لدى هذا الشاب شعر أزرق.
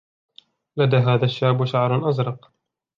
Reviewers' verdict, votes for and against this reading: rejected, 0, 2